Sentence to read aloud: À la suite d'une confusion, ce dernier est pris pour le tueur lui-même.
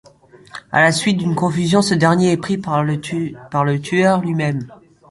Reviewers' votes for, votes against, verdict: 1, 2, rejected